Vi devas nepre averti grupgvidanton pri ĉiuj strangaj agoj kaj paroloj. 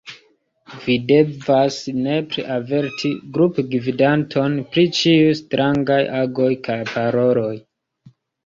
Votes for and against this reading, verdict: 1, 2, rejected